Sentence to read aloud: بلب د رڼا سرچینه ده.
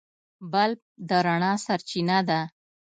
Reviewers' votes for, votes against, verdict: 2, 0, accepted